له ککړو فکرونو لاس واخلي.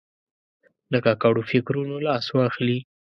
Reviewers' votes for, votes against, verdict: 1, 2, rejected